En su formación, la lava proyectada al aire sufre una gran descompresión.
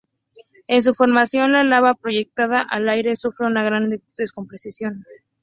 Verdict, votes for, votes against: rejected, 0, 2